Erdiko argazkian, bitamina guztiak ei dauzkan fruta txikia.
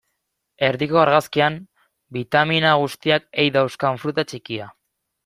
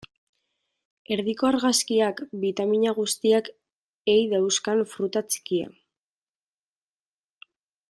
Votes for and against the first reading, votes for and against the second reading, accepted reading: 2, 0, 0, 2, first